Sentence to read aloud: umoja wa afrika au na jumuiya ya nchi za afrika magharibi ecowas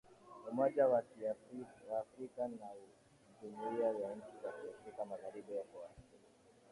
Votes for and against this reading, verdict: 0, 2, rejected